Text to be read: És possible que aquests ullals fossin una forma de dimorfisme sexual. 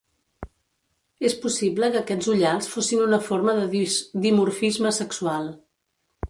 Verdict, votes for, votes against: rejected, 0, 2